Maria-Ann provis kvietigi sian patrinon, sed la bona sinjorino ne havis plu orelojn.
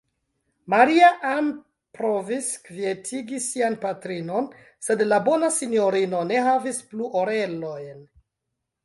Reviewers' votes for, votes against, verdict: 1, 2, rejected